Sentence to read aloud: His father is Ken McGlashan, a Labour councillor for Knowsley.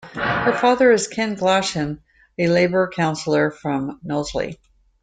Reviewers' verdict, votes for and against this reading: rejected, 0, 2